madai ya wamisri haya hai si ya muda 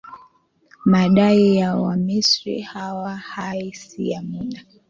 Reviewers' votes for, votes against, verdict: 2, 1, accepted